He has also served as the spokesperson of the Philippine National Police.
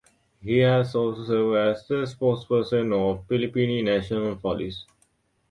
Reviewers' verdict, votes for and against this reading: rejected, 0, 2